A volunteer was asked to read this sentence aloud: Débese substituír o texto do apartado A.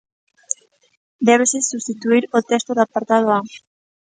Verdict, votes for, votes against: accepted, 2, 0